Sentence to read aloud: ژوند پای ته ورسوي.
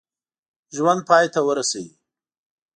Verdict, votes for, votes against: accepted, 2, 0